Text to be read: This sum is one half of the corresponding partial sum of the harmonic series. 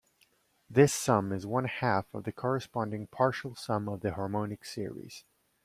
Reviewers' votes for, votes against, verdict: 2, 0, accepted